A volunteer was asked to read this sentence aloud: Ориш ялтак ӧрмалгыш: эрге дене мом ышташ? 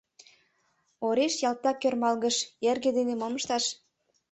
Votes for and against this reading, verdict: 2, 0, accepted